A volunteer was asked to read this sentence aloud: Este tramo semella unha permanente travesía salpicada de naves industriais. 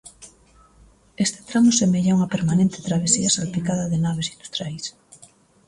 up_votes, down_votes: 2, 0